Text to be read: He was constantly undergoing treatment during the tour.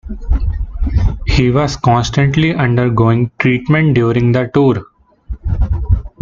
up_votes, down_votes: 2, 1